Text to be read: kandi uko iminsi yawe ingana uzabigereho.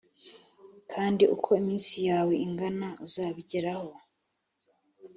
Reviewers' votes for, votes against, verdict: 3, 1, accepted